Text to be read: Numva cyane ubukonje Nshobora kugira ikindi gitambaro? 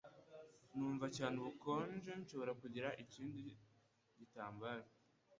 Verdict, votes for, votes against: rejected, 1, 2